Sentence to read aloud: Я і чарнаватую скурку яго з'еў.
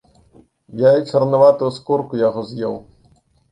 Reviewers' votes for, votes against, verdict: 2, 0, accepted